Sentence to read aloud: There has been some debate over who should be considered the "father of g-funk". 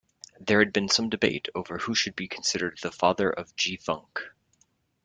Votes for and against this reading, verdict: 1, 2, rejected